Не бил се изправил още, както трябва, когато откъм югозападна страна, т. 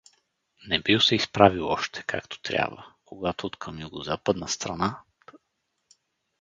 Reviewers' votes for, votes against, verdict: 2, 2, rejected